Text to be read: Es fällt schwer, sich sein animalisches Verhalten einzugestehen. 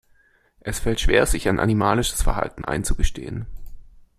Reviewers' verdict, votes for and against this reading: rejected, 0, 2